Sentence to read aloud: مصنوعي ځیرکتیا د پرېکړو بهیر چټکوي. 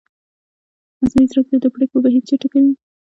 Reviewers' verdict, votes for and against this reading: rejected, 0, 2